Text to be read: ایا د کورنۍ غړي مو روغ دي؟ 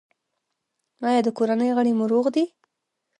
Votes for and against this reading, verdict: 1, 2, rejected